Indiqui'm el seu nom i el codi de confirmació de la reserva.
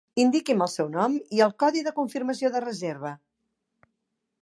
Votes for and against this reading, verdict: 0, 2, rejected